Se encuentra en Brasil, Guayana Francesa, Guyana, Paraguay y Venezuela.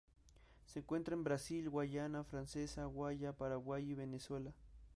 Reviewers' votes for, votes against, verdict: 0, 2, rejected